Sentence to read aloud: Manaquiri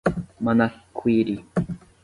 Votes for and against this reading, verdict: 0, 10, rejected